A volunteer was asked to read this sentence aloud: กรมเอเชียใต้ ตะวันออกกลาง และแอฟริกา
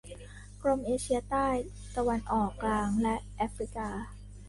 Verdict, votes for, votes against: accepted, 3, 1